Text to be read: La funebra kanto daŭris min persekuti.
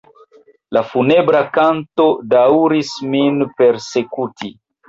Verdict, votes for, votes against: accepted, 2, 1